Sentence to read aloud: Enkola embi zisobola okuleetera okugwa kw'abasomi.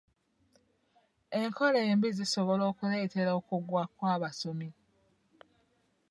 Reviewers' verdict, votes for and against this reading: accepted, 2, 0